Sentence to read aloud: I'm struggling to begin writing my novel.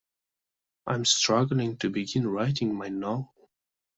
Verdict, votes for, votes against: rejected, 0, 2